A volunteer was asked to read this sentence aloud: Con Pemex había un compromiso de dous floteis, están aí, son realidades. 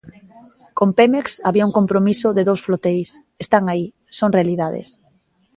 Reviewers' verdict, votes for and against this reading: accepted, 2, 0